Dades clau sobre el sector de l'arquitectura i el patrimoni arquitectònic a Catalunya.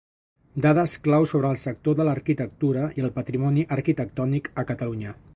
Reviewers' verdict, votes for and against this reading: accepted, 2, 0